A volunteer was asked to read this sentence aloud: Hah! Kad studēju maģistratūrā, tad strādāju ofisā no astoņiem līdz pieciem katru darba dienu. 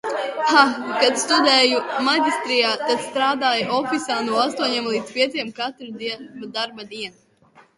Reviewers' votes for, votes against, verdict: 1, 2, rejected